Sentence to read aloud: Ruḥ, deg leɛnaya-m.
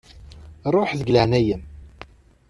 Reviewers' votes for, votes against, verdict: 2, 0, accepted